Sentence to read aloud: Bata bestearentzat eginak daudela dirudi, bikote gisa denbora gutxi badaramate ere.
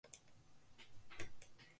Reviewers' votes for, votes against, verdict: 0, 2, rejected